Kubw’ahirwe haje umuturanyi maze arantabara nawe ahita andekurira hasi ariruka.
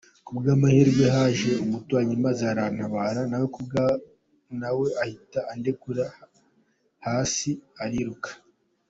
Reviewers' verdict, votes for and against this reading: rejected, 0, 2